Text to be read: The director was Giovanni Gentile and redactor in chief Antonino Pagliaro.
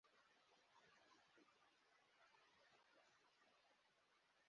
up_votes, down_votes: 0, 2